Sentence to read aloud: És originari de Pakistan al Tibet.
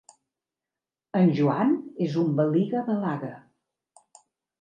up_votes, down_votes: 1, 2